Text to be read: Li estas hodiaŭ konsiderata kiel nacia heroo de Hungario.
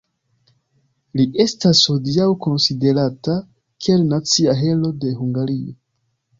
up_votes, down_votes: 1, 2